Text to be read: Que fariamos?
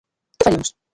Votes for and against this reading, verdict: 0, 2, rejected